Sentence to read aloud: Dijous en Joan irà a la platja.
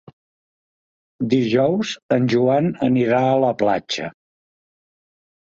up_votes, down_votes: 0, 2